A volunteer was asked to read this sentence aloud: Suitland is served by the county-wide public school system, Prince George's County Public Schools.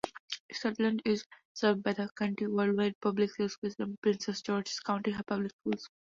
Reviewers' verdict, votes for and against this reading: accepted, 2, 0